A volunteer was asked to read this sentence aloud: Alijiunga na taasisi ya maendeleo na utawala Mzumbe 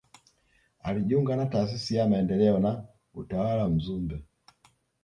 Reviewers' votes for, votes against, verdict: 1, 2, rejected